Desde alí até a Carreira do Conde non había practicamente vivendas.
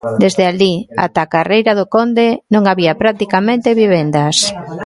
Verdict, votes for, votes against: accepted, 2, 1